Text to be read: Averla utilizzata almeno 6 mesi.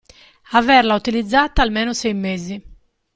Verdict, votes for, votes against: rejected, 0, 2